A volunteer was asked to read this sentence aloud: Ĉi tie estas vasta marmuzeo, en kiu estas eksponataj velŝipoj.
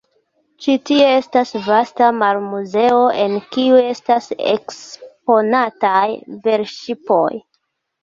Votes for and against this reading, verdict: 2, 0, accepted